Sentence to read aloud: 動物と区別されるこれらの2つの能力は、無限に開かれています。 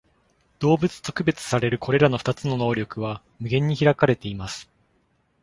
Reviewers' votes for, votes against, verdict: 0, 2, rejected